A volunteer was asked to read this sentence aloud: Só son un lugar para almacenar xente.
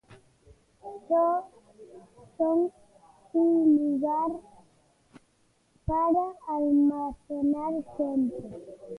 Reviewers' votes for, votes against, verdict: 0, 2, rejected